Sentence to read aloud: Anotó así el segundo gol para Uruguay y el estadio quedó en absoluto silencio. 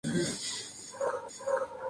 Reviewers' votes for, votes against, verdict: 0, 4, rejected